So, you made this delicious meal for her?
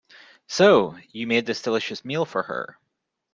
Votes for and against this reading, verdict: 2, 0, accepted